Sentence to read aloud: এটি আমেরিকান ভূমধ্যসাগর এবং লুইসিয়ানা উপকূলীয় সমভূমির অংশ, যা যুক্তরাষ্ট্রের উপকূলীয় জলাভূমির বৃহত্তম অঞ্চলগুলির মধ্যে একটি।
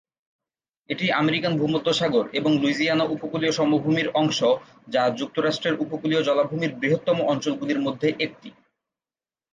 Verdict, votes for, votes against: accepted, 5, 1